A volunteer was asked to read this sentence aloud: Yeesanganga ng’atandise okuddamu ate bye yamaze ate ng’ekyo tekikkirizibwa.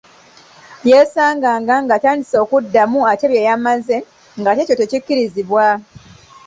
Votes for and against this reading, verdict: 0, 2, rejected